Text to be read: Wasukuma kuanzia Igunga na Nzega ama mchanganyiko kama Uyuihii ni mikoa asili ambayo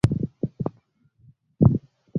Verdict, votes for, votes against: rejected, 0, 10